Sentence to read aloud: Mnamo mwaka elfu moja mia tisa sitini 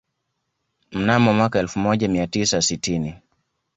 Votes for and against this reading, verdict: 2, 0, accepted